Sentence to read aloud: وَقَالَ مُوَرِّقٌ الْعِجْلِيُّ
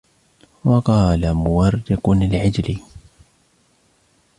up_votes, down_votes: 2, 0